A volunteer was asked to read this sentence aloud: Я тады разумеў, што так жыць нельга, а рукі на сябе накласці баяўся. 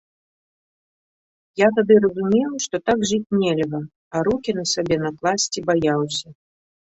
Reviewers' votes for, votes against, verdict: 3, 0, accepted